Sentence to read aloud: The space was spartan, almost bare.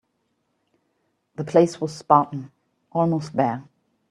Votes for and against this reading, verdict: 0, 2, rejected